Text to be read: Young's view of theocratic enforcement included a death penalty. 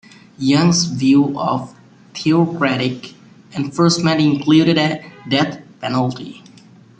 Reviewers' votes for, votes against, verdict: 1, 2, rejected